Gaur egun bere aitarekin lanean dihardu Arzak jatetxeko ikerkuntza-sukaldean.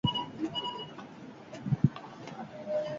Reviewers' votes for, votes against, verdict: 2, 4, rejected